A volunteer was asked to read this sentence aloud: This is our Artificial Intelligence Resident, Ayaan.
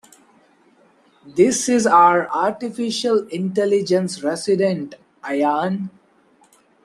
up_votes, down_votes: 2, 0